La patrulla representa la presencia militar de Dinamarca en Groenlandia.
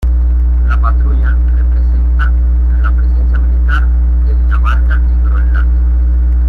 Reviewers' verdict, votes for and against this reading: rejected, 0, 2